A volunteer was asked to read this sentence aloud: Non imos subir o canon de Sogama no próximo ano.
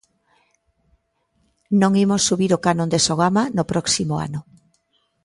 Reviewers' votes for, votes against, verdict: 2, 0, accepted